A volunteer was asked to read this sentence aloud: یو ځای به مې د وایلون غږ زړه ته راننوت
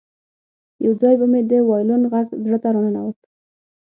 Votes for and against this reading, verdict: 6, 0, accepted